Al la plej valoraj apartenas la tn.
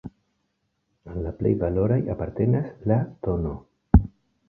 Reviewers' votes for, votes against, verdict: 2, 0, accepted